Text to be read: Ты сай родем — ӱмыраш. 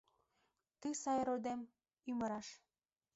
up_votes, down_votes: 0, 2